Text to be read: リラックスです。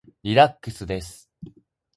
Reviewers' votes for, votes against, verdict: 2, 0, accepted